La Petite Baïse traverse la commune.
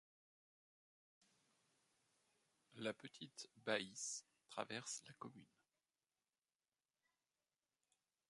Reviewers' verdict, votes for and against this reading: rejected, 1, 2